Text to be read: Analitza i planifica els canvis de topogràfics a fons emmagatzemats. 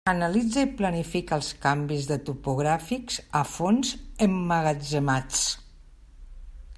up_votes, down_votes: 3, 0